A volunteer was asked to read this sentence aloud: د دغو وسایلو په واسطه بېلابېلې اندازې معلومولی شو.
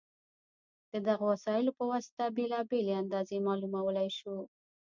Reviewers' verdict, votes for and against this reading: rejected, 1, 2